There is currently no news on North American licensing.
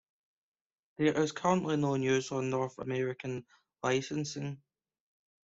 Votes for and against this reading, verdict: 2, 0, accepted